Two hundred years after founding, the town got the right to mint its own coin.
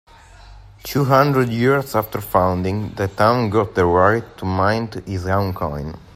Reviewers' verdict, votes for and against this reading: accepted, 2, 1